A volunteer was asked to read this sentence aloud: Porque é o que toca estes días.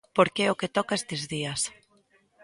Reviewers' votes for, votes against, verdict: 2, 0, accepted